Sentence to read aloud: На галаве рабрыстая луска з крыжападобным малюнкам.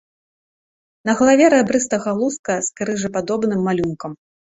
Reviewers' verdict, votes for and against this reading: rejected, 1, 2